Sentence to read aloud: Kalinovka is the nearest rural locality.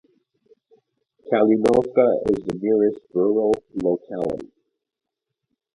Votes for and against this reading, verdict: 0, 2, rejected